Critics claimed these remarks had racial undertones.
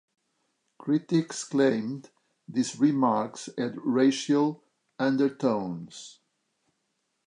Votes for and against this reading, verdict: 2, 1, accepted